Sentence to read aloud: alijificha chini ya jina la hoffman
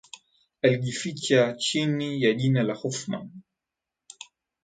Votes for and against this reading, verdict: 3, 4, rejected